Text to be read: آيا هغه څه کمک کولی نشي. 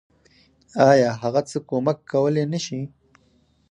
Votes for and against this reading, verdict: 0, 4, rejected